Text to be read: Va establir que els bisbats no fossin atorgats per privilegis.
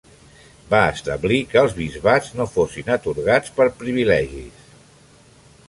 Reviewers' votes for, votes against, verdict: 3, 0, accepted